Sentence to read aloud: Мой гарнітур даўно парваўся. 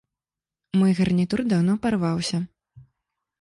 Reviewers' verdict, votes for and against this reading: accepted, 2, 0